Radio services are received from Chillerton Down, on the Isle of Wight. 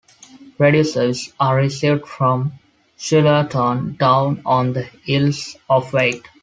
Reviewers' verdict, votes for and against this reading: rejected, 1, 2